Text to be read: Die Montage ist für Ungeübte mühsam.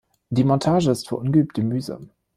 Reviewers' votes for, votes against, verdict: 1, 2, rejected